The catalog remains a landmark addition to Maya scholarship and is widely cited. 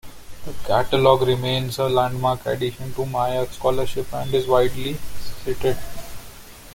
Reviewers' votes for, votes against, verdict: 1, 2, rejected